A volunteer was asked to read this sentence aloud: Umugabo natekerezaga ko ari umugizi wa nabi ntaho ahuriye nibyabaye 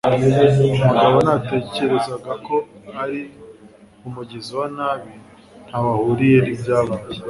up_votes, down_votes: 2, 0